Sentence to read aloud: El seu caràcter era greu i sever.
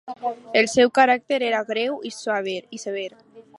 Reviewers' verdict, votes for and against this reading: rejected, 0, 2